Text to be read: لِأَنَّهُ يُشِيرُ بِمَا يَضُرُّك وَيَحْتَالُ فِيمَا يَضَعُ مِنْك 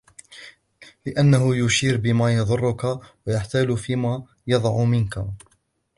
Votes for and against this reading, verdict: 2, 0, accepted